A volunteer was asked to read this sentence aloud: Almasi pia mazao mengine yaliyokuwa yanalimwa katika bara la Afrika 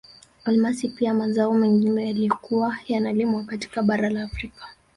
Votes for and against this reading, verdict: 0, 2, rejected